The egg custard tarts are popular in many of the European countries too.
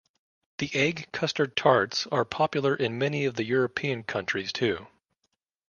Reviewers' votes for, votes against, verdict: 2, 0, accepted